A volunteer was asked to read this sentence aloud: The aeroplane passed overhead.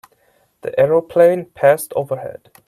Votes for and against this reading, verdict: 2, 0, accepted